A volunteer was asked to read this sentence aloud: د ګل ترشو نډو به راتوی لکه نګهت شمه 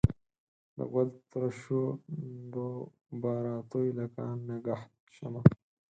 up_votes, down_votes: 2, 4